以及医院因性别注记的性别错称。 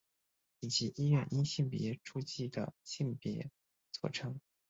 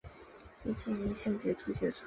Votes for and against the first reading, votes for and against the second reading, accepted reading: 2, 0, 1, 3, first